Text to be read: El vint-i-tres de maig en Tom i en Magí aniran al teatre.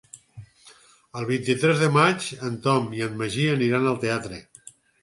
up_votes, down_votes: 6, 0